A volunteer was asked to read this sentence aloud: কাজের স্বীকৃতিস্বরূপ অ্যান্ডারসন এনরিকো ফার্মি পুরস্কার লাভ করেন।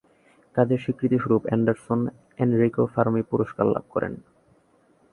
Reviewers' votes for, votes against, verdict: 17, 2, accepted